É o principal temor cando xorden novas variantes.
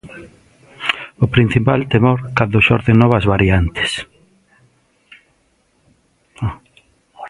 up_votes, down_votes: 0, 2